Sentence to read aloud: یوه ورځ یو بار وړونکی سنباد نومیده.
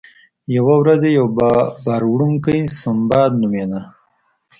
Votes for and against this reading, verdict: 2, 0, accepted